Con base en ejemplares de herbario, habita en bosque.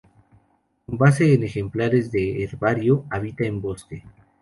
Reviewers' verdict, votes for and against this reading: accepted, 2, 0